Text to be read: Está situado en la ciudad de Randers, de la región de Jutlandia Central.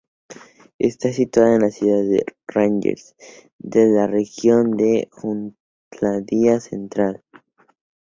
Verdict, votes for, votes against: rejected, 0, 2